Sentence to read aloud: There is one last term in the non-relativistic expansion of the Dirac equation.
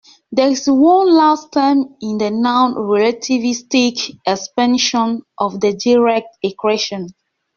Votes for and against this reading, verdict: 2, 0, accepted